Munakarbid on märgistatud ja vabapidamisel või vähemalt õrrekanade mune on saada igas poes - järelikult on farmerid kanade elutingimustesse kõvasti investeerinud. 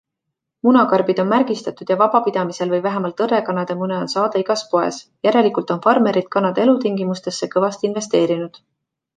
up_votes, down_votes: 2, 0